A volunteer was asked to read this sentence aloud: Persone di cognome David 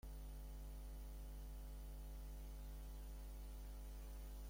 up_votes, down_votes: 0, 2